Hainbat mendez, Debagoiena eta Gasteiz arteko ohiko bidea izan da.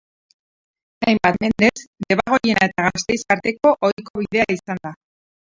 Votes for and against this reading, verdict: 0, 4, rejected